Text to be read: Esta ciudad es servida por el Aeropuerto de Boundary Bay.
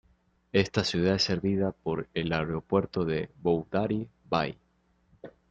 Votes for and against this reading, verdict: 2, 1, accepted